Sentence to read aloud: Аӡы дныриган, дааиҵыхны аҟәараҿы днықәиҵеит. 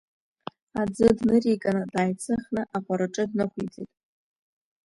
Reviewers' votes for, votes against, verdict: 2, 1, accepted